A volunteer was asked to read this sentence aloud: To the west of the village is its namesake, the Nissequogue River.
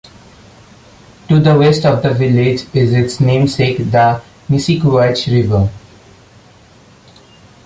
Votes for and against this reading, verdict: 1, 2, rejected